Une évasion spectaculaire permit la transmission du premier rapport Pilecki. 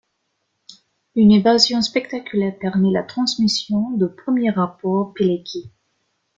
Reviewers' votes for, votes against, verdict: 2, 0, accepted